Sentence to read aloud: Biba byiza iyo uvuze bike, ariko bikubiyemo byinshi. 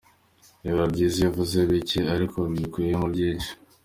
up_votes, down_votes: 2, 0